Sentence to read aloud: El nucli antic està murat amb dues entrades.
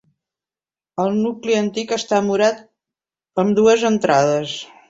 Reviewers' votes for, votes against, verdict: 2, 0, accepted